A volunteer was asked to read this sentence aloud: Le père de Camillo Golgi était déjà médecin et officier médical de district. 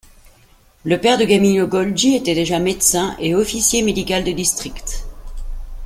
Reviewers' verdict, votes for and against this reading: accepted, 2, 0